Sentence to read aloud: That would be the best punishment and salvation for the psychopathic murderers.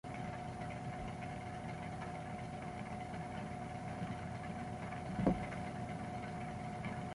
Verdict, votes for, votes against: rejected, 0, 2